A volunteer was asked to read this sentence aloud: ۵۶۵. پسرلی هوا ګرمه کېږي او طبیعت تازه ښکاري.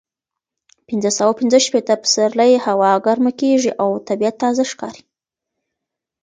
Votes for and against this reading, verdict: 0, 2, rejected